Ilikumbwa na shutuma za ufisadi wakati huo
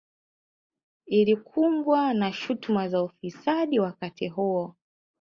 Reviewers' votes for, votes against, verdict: 3, 0, accepted